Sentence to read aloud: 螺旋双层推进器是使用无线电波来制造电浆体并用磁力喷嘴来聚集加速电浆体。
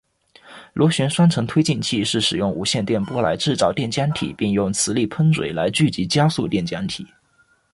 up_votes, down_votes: 2, 0